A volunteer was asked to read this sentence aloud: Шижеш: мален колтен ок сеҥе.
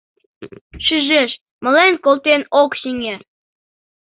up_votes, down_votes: 2, 0